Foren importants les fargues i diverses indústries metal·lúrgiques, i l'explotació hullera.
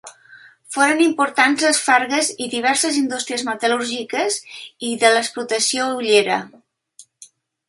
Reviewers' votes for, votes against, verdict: 2, 1, accepted